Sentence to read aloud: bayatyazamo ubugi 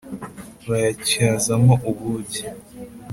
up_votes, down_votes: 3, 0